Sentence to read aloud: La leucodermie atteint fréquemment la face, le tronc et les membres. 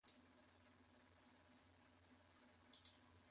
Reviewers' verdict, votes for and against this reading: rejected, 0, 2